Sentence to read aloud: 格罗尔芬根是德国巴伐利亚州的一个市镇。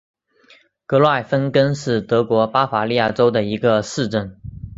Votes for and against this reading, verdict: 2, 0, accepted